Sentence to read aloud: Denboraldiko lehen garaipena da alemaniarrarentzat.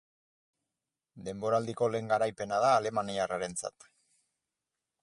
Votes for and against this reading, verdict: 4, 0, accepted